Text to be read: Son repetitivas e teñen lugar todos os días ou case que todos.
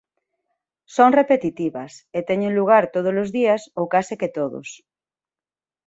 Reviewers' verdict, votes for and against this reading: accepted, 2, 0